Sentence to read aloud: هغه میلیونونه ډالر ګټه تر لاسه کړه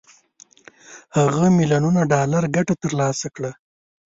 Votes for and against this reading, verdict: 1, 2, rejected